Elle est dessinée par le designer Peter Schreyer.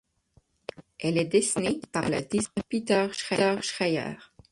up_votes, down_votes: 0, 6